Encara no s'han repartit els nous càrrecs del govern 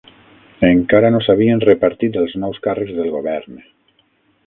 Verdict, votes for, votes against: rejected, 0, 6